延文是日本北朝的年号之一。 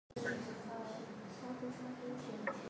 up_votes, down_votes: 3, 1